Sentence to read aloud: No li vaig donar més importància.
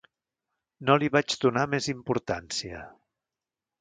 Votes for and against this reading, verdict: 2, 0, accepted